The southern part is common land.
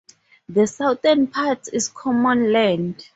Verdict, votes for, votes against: accepted, 2, 0